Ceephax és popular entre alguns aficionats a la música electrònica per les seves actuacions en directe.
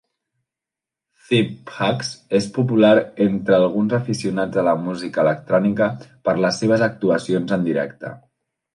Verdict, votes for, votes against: rejected, 1, 2